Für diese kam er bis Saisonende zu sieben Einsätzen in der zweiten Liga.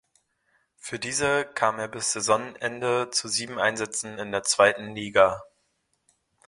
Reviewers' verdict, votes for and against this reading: accepted, 2, 0